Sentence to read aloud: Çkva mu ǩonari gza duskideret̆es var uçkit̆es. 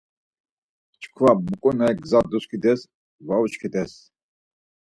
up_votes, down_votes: 2, 4